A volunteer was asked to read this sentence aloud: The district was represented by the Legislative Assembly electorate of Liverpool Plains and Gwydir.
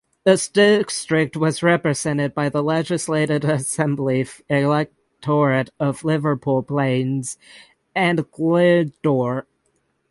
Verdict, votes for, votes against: rejected, 0, 6